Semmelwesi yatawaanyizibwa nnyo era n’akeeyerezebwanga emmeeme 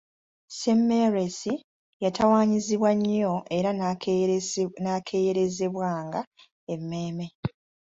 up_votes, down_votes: 2, 1